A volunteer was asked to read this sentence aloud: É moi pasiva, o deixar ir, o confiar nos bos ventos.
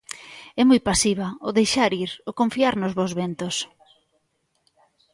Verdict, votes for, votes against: accepted, 2, 1